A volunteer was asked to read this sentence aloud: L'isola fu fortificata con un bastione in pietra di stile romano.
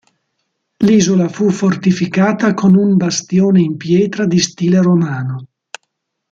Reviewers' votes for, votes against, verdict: 2, 0, accepted